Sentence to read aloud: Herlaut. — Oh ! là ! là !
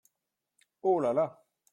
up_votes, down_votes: 0, 2